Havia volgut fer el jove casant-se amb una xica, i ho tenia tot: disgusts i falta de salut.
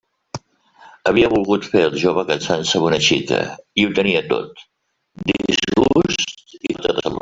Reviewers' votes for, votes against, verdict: 1, 2, rejected